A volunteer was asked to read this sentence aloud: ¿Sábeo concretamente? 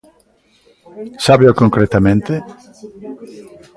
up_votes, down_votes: 1, 2